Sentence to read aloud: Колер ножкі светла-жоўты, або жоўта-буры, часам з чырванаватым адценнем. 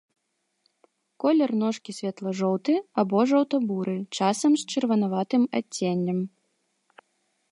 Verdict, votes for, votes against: accepted, 2, 0